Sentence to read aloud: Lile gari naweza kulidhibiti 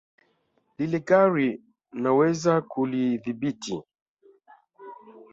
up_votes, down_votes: 3, 0